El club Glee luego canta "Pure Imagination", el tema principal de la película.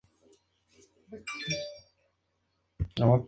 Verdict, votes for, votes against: rejected, 0, 4